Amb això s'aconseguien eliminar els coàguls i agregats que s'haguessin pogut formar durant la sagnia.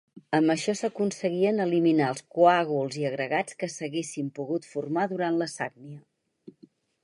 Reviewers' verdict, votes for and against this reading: rejected, 0, 4